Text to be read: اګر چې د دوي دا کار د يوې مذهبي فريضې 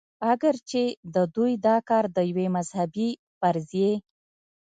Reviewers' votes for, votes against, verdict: 1, 2, rejected